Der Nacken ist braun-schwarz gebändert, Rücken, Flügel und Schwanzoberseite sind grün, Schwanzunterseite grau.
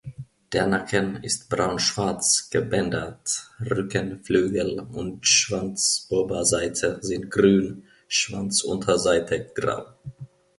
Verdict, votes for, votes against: accepted, 2, 0